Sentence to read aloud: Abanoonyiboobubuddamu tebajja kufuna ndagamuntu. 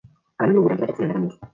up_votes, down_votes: 0, 2